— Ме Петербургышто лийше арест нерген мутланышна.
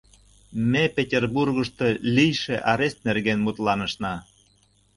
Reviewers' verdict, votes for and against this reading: accepted, 2, 0